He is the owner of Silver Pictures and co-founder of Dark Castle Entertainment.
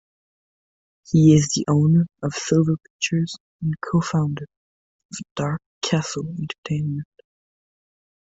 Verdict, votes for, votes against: accepted, 2, 1